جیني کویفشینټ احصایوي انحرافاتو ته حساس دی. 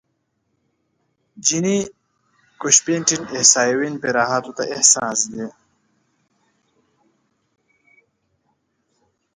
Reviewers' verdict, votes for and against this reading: rejected, 0, 3